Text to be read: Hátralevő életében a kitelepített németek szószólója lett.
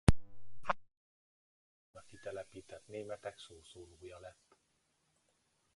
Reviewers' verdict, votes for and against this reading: rejected, 0, 2